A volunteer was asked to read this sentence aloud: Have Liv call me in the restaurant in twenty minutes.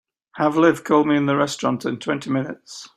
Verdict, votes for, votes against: accepted, 2, 0